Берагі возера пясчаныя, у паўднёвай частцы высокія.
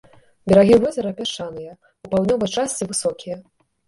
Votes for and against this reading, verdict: 2, 0, accepted